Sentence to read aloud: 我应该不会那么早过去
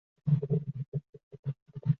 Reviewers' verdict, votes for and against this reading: rejected, 0, 3